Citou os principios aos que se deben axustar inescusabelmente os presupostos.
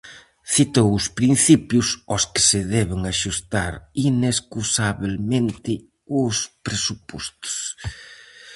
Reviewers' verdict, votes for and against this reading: accepted, 4, 0